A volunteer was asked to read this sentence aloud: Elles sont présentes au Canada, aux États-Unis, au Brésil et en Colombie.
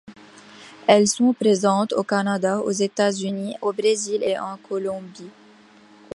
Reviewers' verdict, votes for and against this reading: accepted, 2, 0